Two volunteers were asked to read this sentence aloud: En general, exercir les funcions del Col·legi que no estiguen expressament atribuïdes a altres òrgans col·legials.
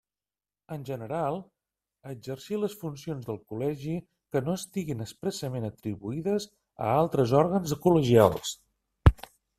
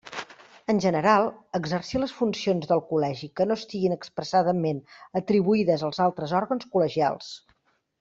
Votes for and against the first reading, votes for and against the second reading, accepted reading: 2, 1, 0, 2, first